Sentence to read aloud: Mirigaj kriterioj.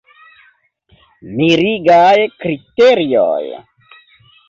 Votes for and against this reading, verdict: 1, 3, rejected